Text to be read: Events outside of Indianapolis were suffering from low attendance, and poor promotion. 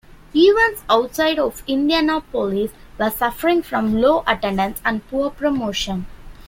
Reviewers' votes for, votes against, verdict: 2, 0, accepted